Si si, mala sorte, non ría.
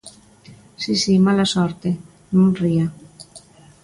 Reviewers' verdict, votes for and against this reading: accepted, 2, 0